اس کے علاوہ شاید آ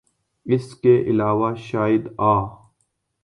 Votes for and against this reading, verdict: 2, 0, accepted